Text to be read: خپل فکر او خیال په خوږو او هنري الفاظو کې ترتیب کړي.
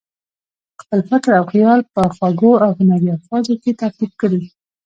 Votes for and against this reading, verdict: 2, 0, accepted